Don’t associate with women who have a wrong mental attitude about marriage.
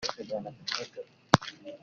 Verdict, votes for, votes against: rejected, 0, 2